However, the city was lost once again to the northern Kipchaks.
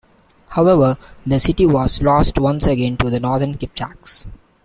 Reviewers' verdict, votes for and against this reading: accepted, 2, 0